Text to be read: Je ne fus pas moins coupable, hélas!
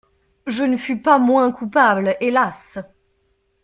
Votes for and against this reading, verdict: 2, 0, accepted